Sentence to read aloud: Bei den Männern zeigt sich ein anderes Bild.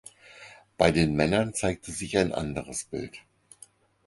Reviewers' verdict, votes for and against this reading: rejected, 0, 4